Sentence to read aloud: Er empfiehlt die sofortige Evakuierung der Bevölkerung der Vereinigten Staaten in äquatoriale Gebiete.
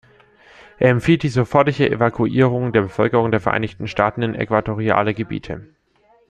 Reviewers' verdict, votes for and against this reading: accepted, 2, 0